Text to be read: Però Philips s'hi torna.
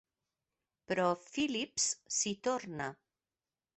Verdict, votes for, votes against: accepted, 2, 0